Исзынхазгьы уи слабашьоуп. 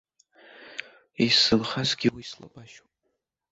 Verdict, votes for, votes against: rejected, 1, 2